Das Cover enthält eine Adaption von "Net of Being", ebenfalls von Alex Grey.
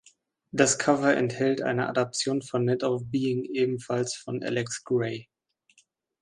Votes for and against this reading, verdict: 1, 2, rejected